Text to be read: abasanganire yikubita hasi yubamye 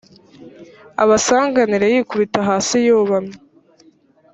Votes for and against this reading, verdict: 2, 0, accepted